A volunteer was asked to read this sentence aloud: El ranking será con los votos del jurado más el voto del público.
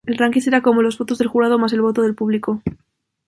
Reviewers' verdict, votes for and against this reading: accepted, 2, 0